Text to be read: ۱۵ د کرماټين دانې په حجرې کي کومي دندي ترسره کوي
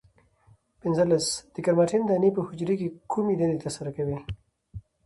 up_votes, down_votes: 0, 2